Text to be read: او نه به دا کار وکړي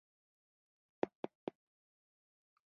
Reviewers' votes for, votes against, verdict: 1, 2, rejected